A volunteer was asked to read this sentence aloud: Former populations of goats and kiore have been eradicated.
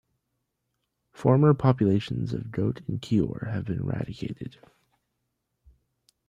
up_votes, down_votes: 1, 2